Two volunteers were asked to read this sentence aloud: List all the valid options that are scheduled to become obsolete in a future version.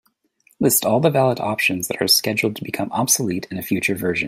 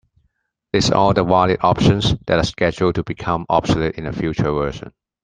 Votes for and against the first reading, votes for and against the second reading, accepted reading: 2, 1, 1, 2, first